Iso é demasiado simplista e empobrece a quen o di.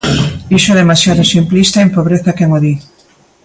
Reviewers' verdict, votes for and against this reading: accepted, 2, 0